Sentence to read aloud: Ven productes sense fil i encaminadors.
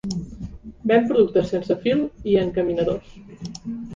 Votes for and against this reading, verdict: 2, 0, accepted